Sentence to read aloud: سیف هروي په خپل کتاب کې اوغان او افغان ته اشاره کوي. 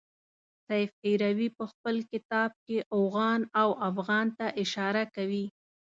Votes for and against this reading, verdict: 2, 0, accepted